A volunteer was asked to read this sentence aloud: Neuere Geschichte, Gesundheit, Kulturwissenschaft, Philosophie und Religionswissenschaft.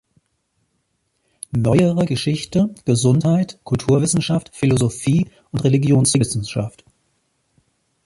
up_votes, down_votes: 2, 0